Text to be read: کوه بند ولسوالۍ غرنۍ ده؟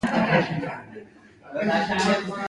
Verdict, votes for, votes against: accepted, 2, 0